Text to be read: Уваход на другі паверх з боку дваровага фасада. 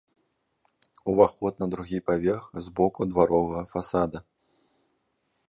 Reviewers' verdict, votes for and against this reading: accepted, 2, 0